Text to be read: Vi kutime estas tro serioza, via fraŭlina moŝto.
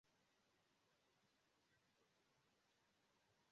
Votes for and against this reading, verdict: 0, 3, rejected